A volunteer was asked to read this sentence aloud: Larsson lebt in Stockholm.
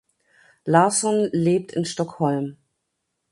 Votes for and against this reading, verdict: 2, 0, accepted